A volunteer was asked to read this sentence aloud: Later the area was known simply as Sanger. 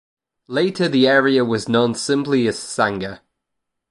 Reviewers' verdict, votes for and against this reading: accepted, 2, 0